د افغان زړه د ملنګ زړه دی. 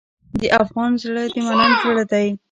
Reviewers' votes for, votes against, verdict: 1, 2, rejected